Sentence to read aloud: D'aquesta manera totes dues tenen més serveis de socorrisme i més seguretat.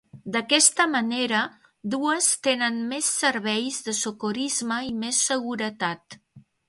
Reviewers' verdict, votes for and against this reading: rejected, 0, 2